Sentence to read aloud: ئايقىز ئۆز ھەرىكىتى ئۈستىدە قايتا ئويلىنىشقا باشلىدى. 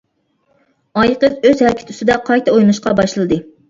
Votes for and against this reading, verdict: 1, 2, rejected